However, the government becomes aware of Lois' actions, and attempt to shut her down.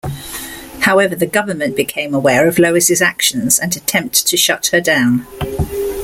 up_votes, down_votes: 1, 2